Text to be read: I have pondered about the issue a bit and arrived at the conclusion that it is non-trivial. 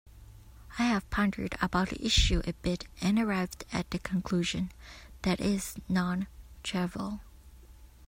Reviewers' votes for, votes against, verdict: 0, 2, rejected